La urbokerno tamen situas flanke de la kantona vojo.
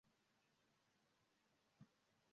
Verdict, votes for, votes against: rejected, 1, 2